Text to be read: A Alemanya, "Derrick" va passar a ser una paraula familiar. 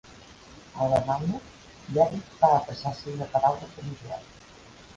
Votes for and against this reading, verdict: 2, 1, accepted